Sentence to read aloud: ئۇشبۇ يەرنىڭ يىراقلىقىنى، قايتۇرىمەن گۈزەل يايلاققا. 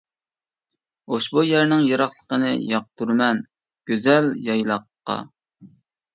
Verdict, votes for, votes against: rejected, 0, 2